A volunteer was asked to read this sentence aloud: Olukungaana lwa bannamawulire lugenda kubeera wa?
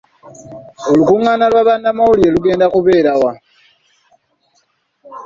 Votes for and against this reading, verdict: 2, 0, accepted